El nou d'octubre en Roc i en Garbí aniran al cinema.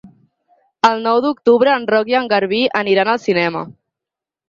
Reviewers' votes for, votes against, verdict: 6, 2, accepted